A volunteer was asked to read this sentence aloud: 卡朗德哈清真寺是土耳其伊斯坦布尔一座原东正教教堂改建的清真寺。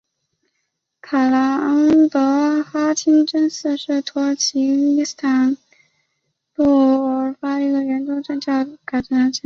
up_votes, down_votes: 0, 2